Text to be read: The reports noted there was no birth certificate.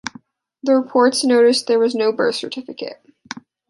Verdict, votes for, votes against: rejected, 0, 2